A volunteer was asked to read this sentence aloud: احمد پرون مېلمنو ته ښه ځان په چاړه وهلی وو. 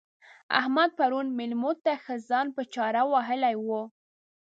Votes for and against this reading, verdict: 1, 2, rejected